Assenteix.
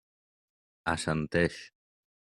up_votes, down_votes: 3, 0